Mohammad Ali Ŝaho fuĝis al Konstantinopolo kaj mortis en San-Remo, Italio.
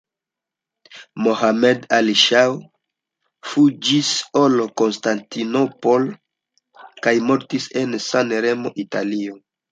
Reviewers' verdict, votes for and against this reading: rejected, 1, 2